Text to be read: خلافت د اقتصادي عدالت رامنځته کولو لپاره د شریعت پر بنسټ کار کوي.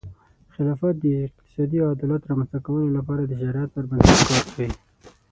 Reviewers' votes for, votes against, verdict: 0, 6, rejected